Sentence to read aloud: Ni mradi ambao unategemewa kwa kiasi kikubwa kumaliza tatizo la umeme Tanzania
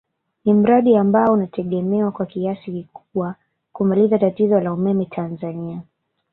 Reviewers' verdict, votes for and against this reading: rejected, 0, 2